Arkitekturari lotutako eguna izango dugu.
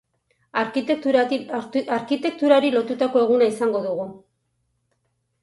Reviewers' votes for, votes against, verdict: 0, 2, rejected